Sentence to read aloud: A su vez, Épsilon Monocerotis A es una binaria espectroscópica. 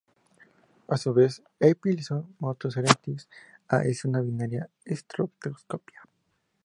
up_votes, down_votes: 2, 0